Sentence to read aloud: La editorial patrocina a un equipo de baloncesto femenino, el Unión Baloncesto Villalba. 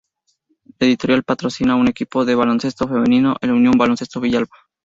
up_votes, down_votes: 2, 0